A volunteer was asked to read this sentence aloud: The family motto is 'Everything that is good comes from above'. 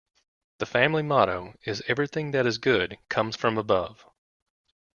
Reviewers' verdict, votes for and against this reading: accepted, 2, 0